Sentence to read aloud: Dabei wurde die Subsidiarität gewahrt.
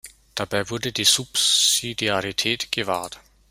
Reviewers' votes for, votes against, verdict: 2, 0, accepted